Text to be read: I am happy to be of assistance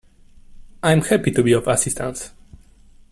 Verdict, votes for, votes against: rejected, 1, 2